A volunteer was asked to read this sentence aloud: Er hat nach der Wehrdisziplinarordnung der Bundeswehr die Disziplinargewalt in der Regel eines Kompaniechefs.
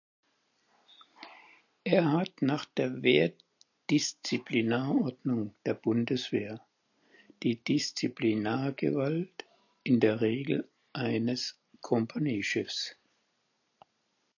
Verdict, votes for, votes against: accepted, 4, 2